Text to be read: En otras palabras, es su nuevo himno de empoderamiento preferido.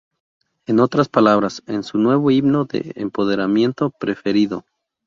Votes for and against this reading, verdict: 0, 2, rejected